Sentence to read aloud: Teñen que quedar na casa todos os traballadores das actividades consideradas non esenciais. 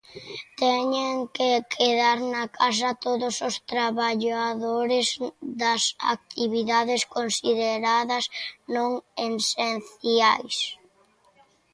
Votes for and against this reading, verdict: 0, 2, rejected